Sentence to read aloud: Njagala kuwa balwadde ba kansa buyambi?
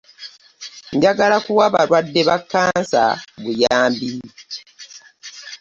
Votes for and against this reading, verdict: 2, 0, accepted